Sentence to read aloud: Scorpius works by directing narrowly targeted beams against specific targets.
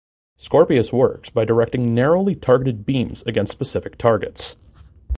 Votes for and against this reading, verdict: 2, 0, accepted